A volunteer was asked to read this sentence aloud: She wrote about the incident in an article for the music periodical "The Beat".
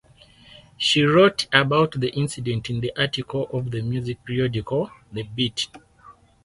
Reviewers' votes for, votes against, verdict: 0, 4, rejected